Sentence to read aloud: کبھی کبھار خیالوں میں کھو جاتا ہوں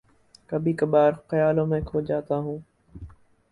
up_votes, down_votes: 4, 0